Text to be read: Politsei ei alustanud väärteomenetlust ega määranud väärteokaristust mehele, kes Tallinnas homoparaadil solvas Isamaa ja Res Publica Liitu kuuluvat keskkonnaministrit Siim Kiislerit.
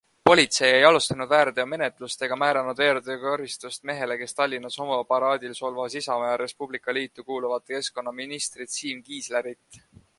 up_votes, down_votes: 3, 0